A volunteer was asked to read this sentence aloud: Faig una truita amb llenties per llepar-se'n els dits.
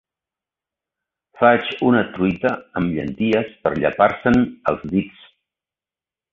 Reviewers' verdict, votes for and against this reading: accepted, 2, 0